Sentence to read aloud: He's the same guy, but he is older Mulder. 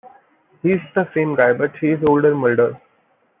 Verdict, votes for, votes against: rejected, 0, 2